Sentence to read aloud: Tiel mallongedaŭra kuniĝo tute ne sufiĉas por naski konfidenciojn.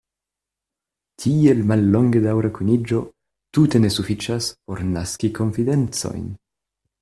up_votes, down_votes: 1, 2